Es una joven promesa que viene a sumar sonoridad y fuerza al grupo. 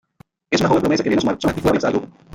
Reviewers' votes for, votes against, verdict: 0, 2, rejected